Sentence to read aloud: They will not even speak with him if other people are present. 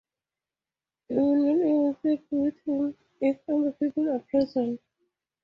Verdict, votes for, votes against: rejected, 0, 2